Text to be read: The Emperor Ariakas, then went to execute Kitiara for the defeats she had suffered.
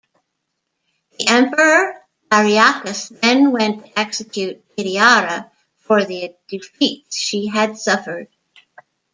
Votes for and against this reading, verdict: 2, 1, accepted